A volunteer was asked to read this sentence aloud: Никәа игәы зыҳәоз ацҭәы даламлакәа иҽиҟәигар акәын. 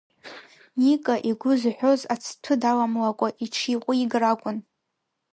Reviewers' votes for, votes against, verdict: 1, 2, rejected